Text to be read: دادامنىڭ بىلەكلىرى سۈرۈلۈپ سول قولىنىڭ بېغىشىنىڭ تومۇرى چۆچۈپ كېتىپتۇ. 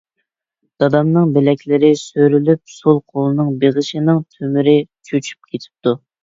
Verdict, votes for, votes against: rejected, 0, 2